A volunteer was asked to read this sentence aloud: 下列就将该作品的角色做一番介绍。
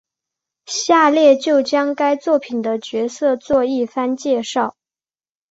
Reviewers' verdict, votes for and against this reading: accepted, 3, 0